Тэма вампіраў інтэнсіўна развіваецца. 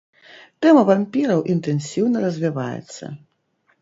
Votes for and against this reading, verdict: 2, 0, accepted